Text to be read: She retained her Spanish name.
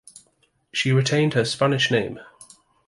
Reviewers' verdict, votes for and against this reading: accepted, 2, 1